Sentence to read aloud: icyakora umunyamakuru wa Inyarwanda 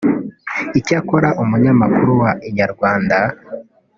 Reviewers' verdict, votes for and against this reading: rejected, 0, 2